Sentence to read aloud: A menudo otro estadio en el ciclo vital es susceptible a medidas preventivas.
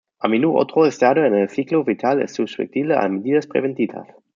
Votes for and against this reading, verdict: 0, 2, rejected